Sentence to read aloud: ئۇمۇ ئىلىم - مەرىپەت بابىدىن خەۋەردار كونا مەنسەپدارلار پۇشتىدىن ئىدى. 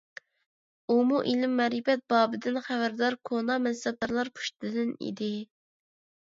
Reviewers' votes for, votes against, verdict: 2, 0, accepted